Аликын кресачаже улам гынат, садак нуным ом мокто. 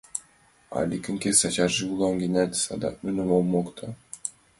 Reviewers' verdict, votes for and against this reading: accepted, 2, 0